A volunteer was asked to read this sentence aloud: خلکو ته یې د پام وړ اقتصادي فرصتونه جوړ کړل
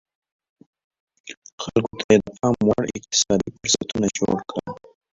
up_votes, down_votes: 0, 2